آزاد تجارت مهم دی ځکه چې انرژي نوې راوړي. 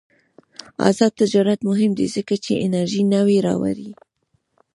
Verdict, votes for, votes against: rejected, 1, 2